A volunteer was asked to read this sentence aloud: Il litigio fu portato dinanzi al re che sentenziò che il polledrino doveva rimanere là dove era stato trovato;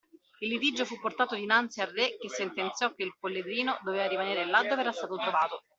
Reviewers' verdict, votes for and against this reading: accepted, 2, 0